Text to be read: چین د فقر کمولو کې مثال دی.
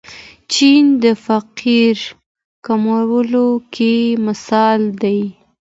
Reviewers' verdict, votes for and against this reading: accepted, 2, 0